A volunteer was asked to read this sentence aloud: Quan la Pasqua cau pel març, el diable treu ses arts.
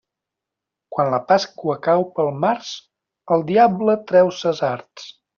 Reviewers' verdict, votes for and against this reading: accepted, 2, 0